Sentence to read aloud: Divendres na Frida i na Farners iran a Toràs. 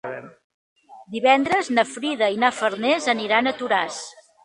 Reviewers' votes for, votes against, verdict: 0, 3, rejected